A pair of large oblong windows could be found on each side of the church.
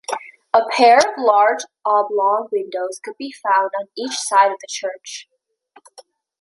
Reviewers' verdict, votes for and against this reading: accepted, 3, 0